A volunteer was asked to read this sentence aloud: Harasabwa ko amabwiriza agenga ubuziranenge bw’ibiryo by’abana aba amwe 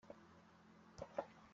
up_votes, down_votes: 0, 2